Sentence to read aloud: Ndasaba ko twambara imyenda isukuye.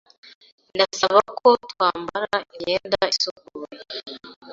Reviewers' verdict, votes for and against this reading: accepted, 2, 0